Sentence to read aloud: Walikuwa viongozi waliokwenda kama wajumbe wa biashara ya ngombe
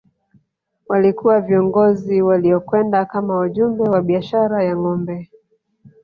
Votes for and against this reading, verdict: 2, 1, accepted